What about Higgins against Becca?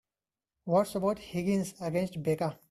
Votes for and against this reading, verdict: 2, 0, accepted